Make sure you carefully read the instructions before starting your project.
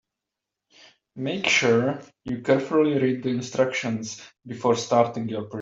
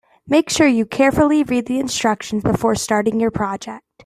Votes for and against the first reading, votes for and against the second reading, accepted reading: 0, 2, 2, 0, second